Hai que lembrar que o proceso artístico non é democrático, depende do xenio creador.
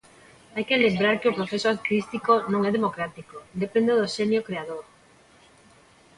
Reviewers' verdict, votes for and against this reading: rejected, 1, 2